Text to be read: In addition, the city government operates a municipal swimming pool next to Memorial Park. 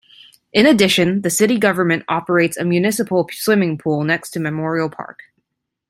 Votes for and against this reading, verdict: 2, 0, accepted